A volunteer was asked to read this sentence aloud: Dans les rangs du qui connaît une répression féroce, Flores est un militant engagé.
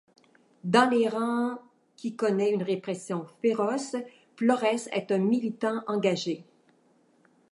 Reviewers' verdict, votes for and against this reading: rejected, 0, 2